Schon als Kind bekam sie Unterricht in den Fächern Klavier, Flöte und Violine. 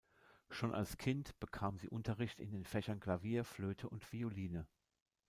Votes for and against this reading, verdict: 0, 2, rejected